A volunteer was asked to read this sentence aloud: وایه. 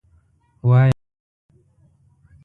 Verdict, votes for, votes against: rejected, 1, 2